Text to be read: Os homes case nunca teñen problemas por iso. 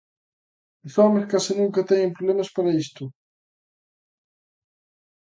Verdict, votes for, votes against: rejected, 0, 2